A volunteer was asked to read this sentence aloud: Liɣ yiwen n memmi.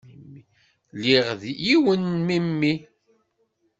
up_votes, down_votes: 1, 2